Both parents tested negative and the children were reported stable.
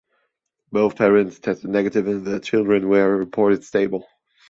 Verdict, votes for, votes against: accepted, 2, 0